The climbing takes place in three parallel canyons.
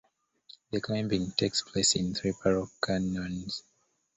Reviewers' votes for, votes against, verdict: 2, 0, accepted